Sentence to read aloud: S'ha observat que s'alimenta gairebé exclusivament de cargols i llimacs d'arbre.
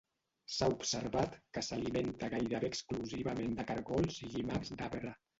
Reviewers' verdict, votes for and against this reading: rejected, 1, 2